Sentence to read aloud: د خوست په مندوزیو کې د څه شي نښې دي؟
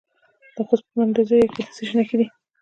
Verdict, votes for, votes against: rejected, 1, 2